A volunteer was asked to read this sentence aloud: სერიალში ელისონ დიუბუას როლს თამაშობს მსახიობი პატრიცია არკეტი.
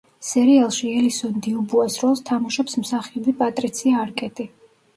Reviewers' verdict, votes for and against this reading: accepted, 2, 0